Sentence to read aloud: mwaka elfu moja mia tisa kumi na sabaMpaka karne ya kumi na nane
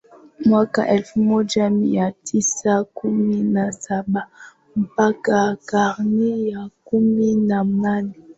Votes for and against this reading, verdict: 2, 0, accepted